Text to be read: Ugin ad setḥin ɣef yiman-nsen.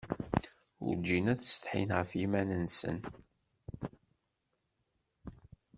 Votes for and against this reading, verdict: 0, 2, rejected